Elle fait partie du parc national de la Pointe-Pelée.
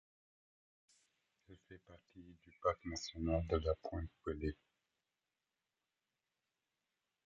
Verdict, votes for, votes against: rejected, 0, 2